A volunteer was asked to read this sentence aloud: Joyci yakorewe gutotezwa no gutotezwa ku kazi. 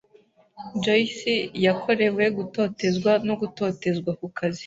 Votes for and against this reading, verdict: 2, 0, accepted